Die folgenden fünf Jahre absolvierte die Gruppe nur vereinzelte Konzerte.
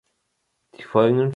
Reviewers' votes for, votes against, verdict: 0, 2, rejected